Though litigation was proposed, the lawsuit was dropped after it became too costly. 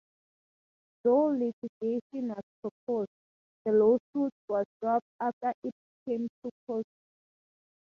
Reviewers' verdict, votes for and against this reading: accepted, 2, 0